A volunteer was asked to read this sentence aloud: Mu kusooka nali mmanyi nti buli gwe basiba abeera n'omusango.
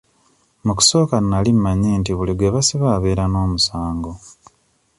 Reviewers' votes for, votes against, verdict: 2, 0, accepted